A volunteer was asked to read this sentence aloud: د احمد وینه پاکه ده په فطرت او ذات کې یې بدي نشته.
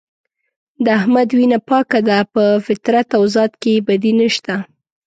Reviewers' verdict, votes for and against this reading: accepted, 3, 0